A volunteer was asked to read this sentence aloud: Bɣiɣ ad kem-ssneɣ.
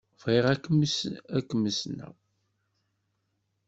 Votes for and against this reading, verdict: 1, 2, rejected